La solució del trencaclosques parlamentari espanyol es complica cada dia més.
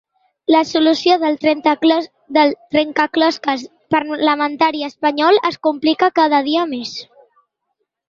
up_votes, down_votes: 0, 3